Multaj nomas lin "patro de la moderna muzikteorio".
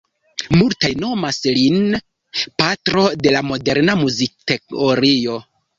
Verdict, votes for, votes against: rejected, 1, 2